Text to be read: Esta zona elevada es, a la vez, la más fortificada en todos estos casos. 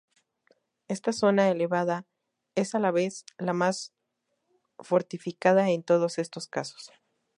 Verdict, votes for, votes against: accepted, 2, 0